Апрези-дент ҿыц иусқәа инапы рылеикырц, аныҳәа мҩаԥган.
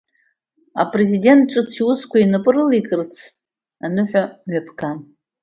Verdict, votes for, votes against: accepted, 2, 0